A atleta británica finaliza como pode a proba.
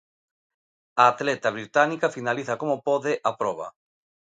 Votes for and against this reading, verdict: 2, 0, accepted